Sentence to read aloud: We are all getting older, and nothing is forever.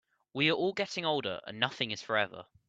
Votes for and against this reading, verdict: 2, 0, accepted